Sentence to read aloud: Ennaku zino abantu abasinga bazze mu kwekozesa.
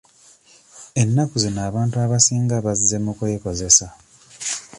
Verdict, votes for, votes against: accepted, 2, 1